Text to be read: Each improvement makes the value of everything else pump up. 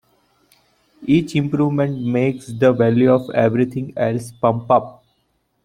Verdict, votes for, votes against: accepted, 2, 0